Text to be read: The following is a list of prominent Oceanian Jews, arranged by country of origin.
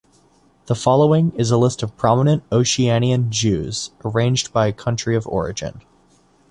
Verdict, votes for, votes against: accepted, 2, 0